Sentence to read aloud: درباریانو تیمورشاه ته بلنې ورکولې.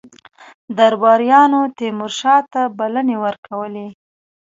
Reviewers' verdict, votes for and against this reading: accepted, 2, 0